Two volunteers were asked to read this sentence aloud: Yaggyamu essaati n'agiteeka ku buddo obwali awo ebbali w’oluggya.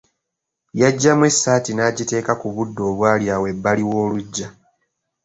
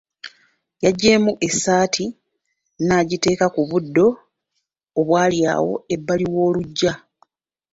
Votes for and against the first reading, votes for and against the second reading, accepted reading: 2, 1, 1, 2, first